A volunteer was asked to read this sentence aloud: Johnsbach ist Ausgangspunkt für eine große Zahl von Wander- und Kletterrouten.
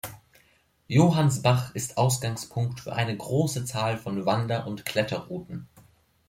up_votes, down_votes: 1, 2